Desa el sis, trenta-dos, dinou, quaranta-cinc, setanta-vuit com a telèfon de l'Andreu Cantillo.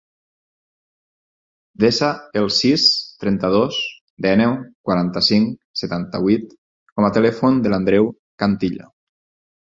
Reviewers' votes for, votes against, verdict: 2, 4, rejected